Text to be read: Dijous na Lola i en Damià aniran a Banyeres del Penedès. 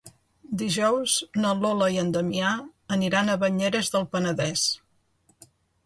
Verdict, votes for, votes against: accepted, 2, 0